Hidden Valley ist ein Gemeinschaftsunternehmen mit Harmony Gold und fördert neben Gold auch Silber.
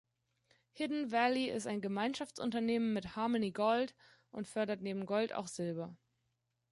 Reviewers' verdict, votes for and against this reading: rejected, 1, 2